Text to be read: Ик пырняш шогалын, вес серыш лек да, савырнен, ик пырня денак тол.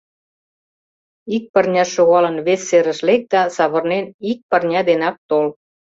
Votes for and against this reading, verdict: 2, 0, accepted